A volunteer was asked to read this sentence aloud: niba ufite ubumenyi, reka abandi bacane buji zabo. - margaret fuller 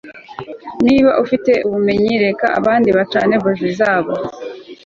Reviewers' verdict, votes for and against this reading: rejected, 1, 2